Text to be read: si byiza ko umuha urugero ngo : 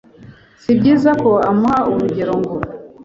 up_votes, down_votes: 1, 2